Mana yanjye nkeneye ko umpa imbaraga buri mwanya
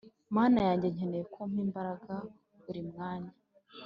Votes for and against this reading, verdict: 2, 1, accepted